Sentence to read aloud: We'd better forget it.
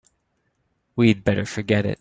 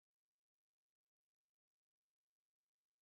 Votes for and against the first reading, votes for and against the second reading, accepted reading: 4, 0, 0, 2, first